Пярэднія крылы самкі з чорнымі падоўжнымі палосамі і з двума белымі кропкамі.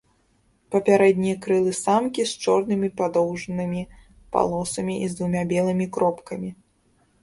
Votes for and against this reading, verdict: 0, 2, rejected